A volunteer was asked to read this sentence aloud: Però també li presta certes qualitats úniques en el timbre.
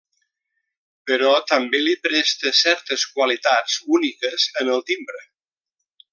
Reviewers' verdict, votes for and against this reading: accepted, 3, 0